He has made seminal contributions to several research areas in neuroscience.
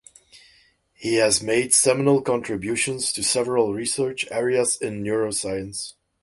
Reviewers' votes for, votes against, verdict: 2, 2, rejected